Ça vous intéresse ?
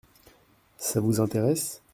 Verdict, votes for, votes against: accepted, 2, 0